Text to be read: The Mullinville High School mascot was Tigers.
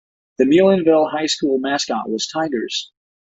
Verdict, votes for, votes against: accepted, 2, 0